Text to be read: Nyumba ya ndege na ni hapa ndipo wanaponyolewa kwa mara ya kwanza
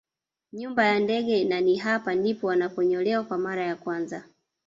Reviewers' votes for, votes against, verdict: 1, 2, rejected